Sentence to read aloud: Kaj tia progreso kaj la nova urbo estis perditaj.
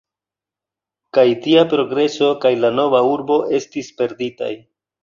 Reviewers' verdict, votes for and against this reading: accepted, 2, 0